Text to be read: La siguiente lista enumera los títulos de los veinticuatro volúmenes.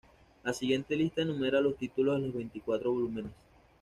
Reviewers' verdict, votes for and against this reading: accepted, 2, 0